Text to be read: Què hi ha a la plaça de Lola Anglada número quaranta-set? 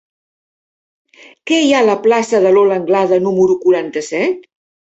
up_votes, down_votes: 2, 0